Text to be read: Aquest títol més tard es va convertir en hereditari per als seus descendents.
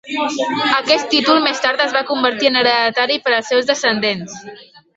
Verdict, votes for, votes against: rejected, 0, 2